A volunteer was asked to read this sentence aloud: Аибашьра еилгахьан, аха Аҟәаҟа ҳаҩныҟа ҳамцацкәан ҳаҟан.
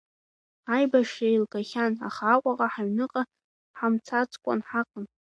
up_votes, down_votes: 2, 0